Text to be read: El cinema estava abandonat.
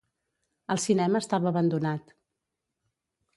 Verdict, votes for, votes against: accepted, 2, 0